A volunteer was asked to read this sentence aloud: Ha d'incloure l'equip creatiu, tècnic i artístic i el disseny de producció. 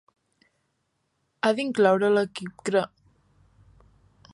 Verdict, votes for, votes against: rejected, 0, 3